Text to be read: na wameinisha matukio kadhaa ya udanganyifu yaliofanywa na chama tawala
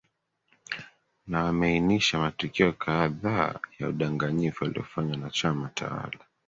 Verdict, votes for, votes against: accepted, 3, 1